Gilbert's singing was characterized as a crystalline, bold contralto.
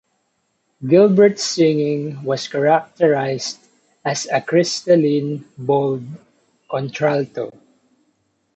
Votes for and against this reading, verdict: 2, 0, accepted